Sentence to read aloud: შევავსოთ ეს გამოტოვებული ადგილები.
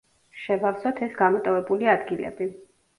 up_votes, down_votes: 2, 0